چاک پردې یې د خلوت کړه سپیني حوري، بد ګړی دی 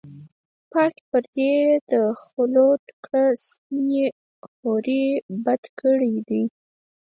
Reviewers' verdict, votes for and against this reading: accepted, 4, 2